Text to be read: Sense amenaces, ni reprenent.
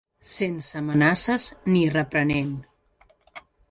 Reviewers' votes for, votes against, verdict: 3, 0, accepted